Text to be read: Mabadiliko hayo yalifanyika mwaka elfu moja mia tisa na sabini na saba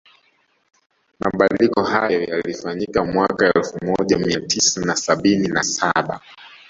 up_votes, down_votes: 1, 2